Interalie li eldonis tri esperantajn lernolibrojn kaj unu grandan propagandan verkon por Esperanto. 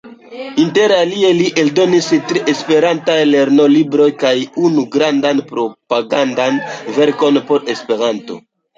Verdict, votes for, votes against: accepted, 2, 1